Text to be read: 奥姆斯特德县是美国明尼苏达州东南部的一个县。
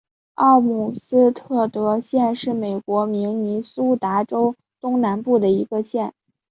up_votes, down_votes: 2, 0